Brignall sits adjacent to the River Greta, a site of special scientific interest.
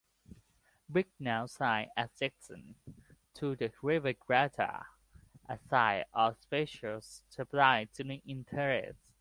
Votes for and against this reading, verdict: 0, 2, rejected